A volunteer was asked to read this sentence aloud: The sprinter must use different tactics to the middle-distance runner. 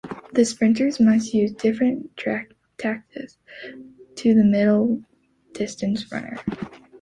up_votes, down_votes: 1, 2